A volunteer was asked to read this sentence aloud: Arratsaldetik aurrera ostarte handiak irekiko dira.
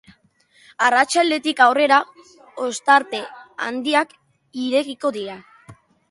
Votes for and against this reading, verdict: 2, 0, accepted